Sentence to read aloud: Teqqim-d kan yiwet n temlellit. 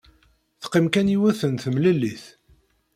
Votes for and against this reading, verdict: 1, 2, rejected